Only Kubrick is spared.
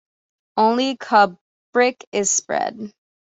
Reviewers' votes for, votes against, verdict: 1, 2, rejected